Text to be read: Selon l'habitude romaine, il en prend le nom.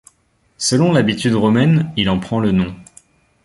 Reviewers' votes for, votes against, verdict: 2, 0, accepted